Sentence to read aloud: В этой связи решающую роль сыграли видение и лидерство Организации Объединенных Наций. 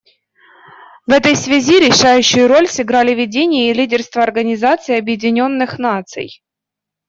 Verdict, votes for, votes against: accepted, 2, 0